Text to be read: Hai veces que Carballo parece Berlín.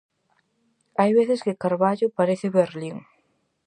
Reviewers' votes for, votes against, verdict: 4, 0, accepted